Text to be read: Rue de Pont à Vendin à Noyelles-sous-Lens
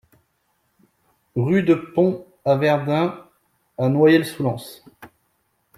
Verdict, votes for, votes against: rejected, 1, 2